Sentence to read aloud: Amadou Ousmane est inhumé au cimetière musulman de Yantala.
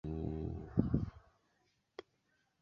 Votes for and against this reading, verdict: 0, 2, rejected